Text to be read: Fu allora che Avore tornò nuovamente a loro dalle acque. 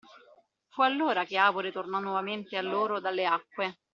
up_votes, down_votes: 2, 0